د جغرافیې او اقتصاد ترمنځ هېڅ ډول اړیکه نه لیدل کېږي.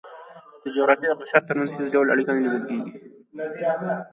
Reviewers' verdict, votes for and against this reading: rejected, 0, 2